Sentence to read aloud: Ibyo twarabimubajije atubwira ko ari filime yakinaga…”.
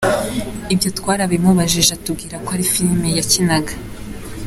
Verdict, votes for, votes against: accepted, 3, 1